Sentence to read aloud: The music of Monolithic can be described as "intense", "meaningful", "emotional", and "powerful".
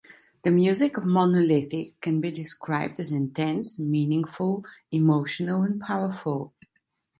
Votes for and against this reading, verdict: 2, 0, accepted